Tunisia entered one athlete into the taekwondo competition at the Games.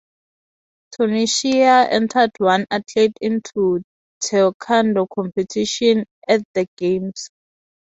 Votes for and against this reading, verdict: 0, 6, rejected